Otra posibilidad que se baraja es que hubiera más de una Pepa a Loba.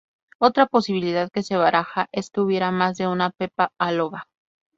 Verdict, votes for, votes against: accepted, 2, 0